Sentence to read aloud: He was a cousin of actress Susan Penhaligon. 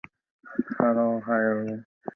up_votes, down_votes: 0, 2